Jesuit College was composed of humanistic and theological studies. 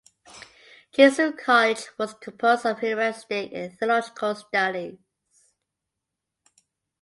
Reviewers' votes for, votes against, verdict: 2, 0, accepted